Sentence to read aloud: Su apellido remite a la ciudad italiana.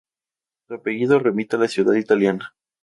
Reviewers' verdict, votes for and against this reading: accepted, 2, 0